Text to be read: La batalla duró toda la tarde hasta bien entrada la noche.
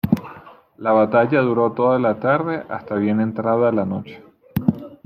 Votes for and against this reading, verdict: 2, 0, accepted